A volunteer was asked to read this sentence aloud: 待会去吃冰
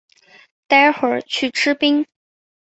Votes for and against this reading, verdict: 2, 0, accepted